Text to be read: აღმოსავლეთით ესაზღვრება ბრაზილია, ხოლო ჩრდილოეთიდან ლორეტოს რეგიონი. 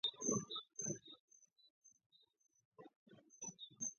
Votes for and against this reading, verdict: 0, 2, rejected